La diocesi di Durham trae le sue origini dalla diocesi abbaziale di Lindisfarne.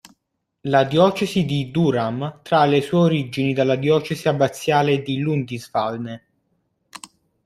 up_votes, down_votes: 1, 2